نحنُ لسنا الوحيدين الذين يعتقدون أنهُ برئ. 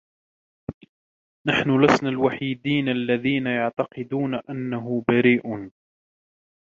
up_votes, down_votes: 2, 0